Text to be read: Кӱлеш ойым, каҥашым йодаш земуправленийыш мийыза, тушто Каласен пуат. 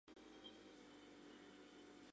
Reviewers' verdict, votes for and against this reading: rejected, 0, 2